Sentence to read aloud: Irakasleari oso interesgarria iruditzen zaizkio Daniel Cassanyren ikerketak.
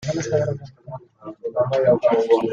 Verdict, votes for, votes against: rejected, 0, 2